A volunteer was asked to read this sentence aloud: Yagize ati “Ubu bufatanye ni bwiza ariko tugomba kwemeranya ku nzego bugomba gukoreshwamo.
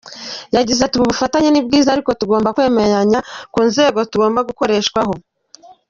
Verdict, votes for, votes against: rejected, 0, 2